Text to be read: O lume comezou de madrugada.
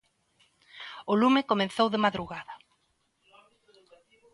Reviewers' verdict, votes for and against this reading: rejected, 0, 2